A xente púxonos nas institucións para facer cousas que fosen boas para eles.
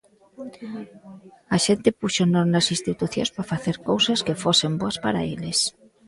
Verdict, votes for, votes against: accepted, 3, 0